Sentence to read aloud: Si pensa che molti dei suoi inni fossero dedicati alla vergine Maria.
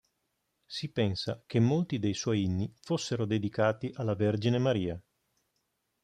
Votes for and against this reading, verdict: 3, 0, accepted